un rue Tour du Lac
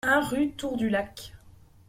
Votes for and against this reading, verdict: 2, 0, accepted